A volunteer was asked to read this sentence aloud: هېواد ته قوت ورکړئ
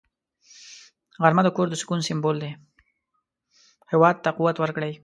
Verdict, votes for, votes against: rejected, 0, 2